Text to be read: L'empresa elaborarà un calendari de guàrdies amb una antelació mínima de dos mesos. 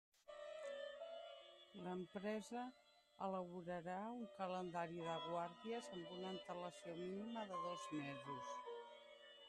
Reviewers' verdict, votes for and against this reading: accepted, 2, 0